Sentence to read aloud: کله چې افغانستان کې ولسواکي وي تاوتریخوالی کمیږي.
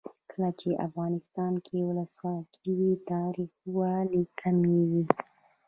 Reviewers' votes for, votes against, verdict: 1, 2, rejected